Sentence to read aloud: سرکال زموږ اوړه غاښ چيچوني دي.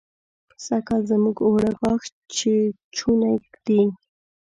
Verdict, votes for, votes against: rejected, 0, 2